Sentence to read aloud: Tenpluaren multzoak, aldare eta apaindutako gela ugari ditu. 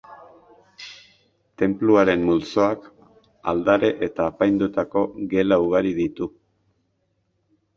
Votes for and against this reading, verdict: 2, 0, accepted